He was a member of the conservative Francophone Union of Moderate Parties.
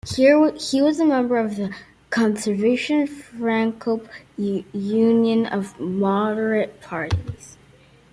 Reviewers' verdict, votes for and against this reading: rejected, 0, 2